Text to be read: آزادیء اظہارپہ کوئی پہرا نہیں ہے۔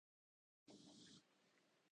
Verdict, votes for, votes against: rejected, 0, 2